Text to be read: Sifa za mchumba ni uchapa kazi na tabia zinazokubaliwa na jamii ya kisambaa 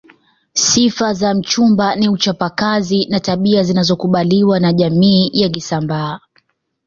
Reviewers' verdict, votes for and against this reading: accepted, 2, 0